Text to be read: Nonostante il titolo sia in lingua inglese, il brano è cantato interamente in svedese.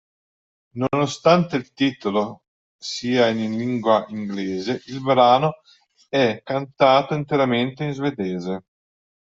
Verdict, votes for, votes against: accepted, 2, 0